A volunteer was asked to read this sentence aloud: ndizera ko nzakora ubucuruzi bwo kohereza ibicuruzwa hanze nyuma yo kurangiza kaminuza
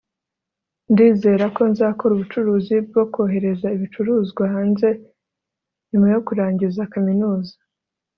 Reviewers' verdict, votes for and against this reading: accepted, 3, 0